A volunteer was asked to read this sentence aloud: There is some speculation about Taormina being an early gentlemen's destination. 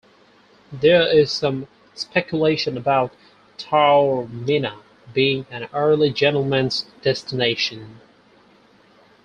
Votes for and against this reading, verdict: 4, 2, accepted